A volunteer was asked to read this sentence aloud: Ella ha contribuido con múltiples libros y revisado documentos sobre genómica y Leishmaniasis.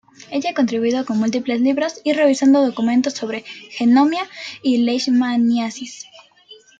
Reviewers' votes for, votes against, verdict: 0, 2, rejected